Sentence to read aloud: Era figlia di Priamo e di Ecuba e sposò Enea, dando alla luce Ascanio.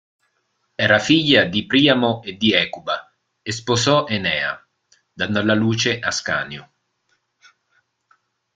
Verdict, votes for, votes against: rejected, 1, 2